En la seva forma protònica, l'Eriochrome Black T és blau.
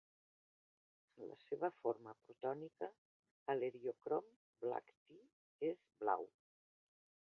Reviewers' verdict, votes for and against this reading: rejected, 0, 2